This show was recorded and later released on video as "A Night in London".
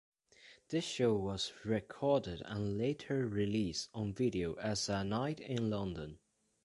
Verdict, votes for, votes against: accepted, 2, 1